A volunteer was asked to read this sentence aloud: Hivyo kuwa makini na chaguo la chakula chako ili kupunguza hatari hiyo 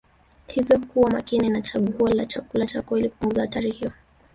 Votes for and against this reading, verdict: 1, 2, rejected